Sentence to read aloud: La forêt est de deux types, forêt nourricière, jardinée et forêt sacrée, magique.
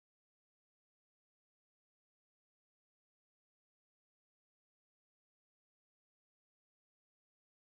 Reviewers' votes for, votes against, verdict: 0, 2, rejected